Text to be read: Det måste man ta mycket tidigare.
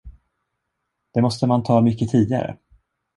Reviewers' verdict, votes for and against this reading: accepted, 2, 0